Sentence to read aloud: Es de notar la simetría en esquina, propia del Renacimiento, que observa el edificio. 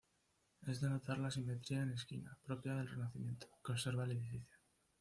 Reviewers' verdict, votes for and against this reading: accepted, 2, 0